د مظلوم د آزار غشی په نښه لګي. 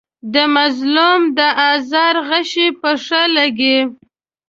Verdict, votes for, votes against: rejected, 0, 2